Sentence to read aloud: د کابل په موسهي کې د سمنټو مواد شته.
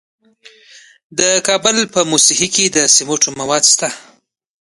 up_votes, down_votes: 2, 1